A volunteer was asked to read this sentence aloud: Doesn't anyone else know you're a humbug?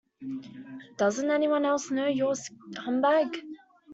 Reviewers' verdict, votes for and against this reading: rejected, 0, 2